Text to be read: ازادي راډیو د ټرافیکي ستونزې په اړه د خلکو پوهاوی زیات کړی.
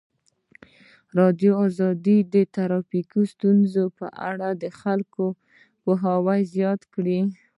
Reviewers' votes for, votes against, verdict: 2, 0, accepted